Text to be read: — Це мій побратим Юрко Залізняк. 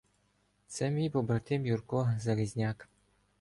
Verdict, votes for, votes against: accepted, 2, 0